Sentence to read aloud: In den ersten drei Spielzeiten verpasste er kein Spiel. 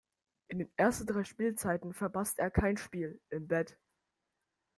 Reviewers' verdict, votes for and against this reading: rejected, 0, 2